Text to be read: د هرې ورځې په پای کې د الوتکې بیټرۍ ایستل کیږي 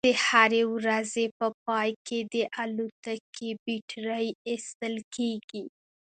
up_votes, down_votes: 2, 0